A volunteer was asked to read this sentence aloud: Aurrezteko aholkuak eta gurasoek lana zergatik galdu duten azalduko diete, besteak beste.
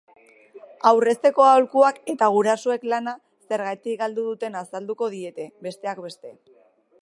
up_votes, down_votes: 2, 1